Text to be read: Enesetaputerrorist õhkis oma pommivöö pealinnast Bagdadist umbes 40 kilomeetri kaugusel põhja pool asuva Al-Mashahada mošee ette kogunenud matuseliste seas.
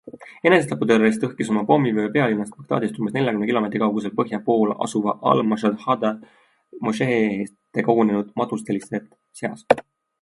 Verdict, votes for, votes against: rejected, 0, 2